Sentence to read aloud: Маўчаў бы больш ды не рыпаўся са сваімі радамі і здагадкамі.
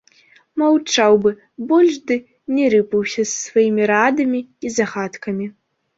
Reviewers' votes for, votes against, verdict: 1, 2, rejected